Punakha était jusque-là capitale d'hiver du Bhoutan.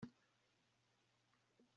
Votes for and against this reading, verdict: 0, 2, rejected